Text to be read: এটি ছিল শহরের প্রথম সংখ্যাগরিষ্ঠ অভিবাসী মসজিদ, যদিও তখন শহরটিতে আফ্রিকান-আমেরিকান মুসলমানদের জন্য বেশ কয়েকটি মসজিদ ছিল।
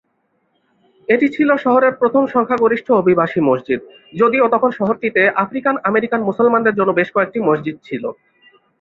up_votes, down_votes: 2, 0